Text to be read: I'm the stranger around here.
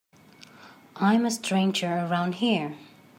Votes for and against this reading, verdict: 2, 1, accepted